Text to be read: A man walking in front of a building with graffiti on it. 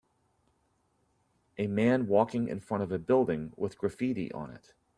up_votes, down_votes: 2, 0